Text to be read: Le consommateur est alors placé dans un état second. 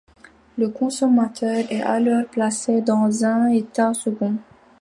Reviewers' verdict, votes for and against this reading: accepted, 2, 1